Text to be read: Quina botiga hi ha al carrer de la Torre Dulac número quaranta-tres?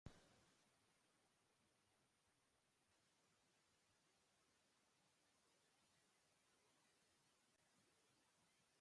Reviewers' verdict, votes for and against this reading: rejected, 0, 2